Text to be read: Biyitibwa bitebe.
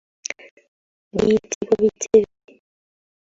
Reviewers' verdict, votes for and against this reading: rejected, 0, 2